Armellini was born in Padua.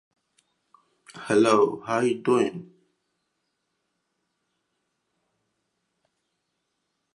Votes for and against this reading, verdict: 0, 2, rejected